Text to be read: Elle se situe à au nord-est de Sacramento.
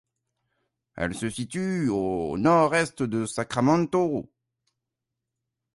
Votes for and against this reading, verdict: 0, 2, rejected